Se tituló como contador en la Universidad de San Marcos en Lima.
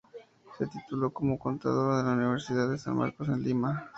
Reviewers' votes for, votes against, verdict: 0, 2, rejected